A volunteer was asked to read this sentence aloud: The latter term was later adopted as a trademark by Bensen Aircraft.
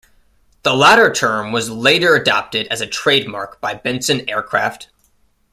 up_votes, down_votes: 2, 0